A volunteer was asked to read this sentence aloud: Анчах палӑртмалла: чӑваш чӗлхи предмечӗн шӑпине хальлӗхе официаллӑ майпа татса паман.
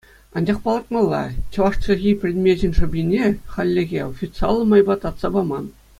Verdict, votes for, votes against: accepted, 2, 0